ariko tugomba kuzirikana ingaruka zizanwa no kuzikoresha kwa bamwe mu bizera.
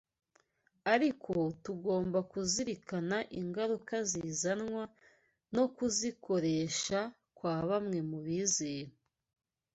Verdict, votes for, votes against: accepted, 2, 0